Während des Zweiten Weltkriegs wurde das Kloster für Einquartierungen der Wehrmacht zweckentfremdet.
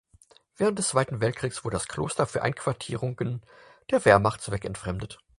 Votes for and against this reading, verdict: 4, 0, accepted